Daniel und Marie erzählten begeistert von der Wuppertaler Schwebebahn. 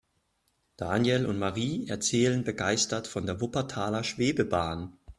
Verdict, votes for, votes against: rejected, 0, 2